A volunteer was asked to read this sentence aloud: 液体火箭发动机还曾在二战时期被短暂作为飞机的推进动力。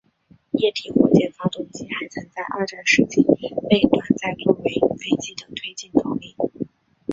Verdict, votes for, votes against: rejected, 0, 3